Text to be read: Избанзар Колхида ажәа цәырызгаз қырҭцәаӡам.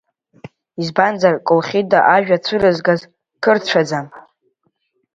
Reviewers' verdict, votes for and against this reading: rejected, 1, 2